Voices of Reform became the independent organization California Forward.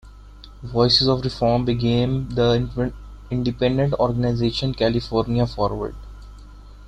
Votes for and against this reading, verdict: 0, 2, rejected